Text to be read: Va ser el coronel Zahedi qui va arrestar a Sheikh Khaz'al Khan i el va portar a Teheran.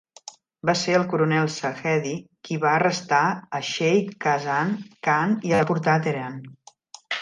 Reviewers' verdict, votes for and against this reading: rejected, 0, 2